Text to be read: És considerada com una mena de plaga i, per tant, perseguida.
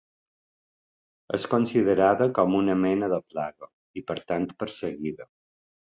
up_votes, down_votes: 2, 0